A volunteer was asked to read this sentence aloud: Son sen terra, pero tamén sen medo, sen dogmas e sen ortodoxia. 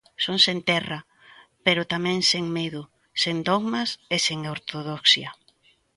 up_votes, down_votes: 2, 0